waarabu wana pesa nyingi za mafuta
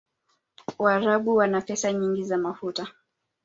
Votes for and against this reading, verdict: 2, 1, accepted